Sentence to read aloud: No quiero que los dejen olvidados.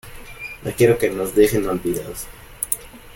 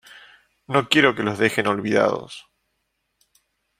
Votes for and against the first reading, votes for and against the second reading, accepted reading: 1, 2, 2, 0, second